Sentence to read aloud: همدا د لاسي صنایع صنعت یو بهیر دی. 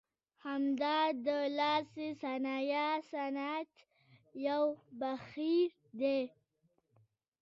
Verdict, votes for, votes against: rejected, 1, 2